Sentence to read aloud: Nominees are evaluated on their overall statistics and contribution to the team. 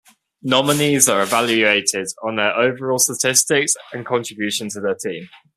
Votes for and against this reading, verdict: 2, 0, accepted